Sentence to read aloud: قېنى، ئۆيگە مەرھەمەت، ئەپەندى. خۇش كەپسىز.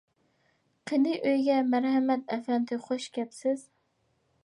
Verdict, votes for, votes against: accepted, 2, 0